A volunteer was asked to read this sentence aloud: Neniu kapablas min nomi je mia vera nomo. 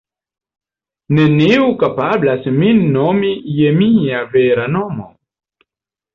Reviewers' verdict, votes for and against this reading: accepted, 2, 0